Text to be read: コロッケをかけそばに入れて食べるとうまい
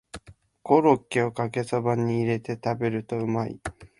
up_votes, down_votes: 2, 0